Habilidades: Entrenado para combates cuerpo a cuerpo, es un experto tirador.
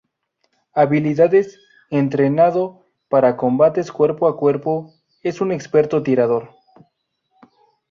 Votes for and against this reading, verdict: 2, 0, accepted